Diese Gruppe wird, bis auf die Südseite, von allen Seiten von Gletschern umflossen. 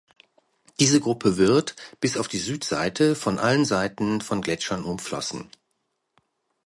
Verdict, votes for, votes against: accepted, 2, 0